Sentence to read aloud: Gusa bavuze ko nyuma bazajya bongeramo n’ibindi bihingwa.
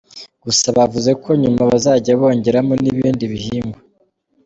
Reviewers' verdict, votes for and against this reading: accepted, 3, 0